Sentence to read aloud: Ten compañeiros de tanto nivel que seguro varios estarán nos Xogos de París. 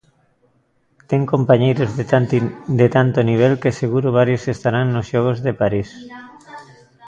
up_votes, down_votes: 1, 2